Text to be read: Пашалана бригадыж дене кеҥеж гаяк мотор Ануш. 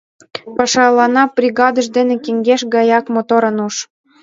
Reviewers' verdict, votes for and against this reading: rejected, 0, 2